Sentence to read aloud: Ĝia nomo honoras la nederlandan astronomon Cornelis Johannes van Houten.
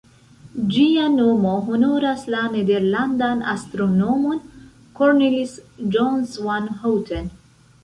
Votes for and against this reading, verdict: 1, 2, rejected